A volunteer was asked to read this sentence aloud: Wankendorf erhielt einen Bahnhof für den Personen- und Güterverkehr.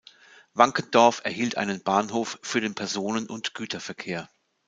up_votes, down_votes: 2, 0